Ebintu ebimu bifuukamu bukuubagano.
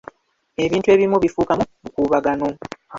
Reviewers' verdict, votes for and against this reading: rejected, 0, 2